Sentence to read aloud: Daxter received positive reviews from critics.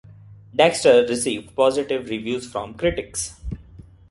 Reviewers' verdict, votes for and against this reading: rejected, 0, 2